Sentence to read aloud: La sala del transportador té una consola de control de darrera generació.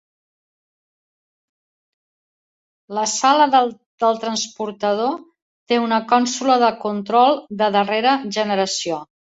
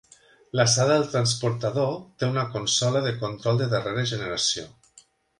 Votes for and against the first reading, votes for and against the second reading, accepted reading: 2, 3, 2, 0, second